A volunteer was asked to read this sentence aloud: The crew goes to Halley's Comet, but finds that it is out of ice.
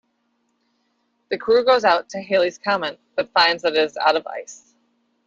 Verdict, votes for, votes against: rejected, 0, 2